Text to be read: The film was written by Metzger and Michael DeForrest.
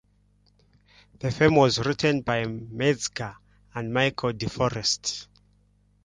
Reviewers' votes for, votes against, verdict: 0, 2, rejected